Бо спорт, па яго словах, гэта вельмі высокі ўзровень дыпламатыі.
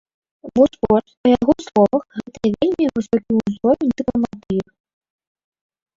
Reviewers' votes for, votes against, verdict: 0, 3, rejected